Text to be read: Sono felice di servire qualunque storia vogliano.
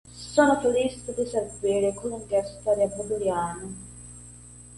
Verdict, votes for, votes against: rejected, 0, 2